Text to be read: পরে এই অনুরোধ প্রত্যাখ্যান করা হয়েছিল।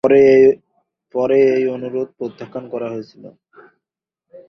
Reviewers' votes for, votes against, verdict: 0, 2, rejected